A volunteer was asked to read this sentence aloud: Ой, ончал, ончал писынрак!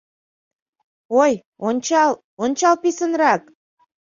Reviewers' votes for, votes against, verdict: 2, 0, accepted